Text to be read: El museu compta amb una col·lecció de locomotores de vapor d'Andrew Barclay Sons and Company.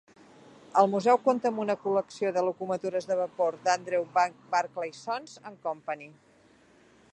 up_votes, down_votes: 0, 2